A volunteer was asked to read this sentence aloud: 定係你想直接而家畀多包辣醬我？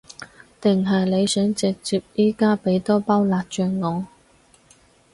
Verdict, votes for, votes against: rejected, 2, 4